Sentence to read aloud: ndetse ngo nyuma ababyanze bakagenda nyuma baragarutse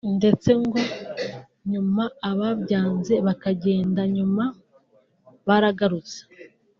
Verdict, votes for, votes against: accepted, 2, 1